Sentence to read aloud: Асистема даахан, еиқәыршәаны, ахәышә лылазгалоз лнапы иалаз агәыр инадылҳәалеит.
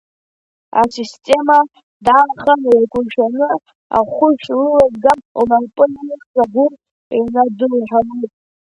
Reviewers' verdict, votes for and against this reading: rejected, 1, 2